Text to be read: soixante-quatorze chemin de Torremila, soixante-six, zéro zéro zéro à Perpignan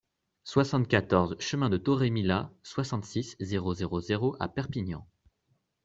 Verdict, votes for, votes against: accepted, 2, 0